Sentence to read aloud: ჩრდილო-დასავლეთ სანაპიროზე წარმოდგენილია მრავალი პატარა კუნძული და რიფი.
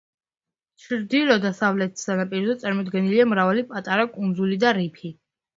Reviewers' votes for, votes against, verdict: 0, 2, rejected